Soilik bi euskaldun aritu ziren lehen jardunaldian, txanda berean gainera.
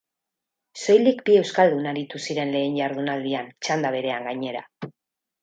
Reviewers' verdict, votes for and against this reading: rejected, 4, 4